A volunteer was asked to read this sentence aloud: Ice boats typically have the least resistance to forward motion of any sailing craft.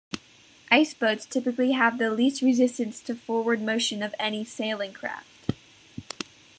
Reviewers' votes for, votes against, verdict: 3, 0, accepted